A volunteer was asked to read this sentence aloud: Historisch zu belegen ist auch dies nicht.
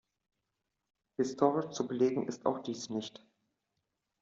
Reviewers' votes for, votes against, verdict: 2, 0, accepted